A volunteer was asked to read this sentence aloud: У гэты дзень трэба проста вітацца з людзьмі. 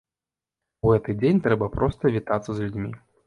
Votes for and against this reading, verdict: 2, 1, accepted